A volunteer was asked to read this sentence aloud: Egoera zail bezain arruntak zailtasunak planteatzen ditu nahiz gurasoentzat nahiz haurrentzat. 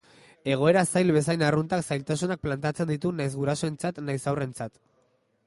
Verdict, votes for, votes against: accepted, 2, 0